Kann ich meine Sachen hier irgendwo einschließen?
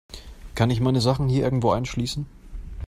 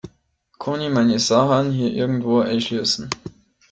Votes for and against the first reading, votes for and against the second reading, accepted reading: 2, 0, 1, 2, first